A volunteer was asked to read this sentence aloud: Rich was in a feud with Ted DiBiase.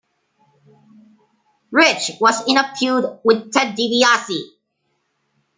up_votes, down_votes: 1, 2